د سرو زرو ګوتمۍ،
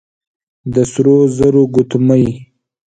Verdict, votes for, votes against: accepted, 2, 0